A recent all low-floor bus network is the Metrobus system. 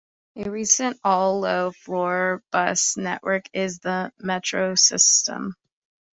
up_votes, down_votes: 0, 2